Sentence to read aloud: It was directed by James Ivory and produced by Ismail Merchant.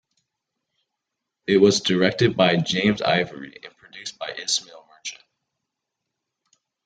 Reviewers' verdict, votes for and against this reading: accepted, 2, 0